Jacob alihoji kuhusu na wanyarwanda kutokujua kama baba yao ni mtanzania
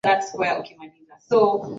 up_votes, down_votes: 0, 2